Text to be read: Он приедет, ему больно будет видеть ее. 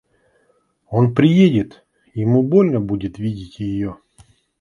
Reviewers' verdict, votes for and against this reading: accepted, 2, 0